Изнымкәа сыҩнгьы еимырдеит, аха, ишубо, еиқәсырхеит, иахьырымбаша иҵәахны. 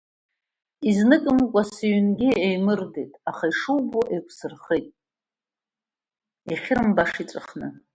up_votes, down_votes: 2, 1